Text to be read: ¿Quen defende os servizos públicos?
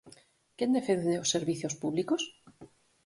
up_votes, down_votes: 4, 0